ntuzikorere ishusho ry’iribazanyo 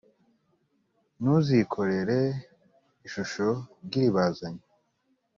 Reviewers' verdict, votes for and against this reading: accepted, 2, 0